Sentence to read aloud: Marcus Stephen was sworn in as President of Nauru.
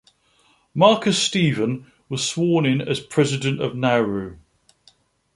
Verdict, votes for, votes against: accepted, 2, 0